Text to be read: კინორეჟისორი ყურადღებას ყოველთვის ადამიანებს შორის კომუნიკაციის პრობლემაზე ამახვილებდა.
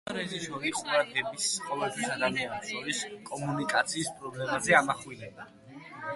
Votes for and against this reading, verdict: 2, 0, accepted